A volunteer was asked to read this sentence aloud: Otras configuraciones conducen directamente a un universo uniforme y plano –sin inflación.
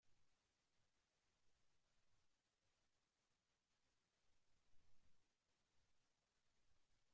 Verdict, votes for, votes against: rejected, 0, 2